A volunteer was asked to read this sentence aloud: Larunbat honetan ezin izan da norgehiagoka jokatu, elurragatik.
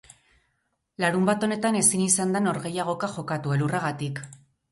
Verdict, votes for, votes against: rejected, 2, 2